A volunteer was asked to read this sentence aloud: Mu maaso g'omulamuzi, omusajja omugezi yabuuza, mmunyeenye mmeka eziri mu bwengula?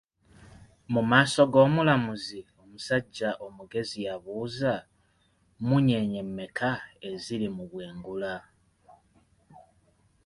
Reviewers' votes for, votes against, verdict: 2, 0, accepted